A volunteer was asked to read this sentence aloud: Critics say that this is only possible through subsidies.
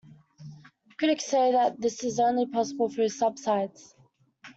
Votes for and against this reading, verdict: 0, 2, rejected